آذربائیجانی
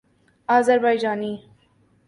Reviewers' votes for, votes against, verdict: 3, 0, accepted